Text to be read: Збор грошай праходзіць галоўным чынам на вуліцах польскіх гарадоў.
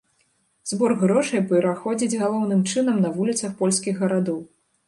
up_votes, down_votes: 1, 2